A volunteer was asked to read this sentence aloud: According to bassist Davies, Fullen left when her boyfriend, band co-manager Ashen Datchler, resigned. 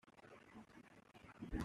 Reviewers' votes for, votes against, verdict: 0, 2, rejected